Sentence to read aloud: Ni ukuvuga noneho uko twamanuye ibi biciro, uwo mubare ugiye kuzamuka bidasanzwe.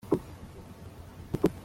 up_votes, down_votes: 0, 2